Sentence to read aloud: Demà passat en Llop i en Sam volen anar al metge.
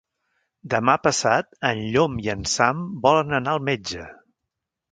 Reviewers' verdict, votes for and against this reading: rejected, 1, 2